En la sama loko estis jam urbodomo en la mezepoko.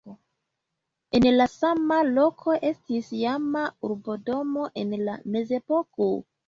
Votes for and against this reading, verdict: 0, 2, rejected